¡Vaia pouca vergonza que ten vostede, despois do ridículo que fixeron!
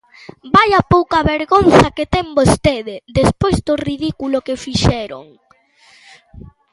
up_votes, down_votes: 1, 2